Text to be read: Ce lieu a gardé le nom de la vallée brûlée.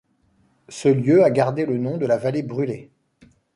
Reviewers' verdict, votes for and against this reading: accepted, 2, 0